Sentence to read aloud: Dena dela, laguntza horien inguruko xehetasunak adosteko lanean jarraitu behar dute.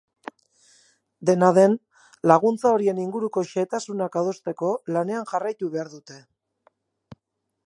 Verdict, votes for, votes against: rejected, 0, 4